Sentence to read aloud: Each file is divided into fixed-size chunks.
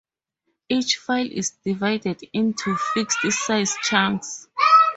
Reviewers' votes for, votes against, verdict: 4, 0, accepted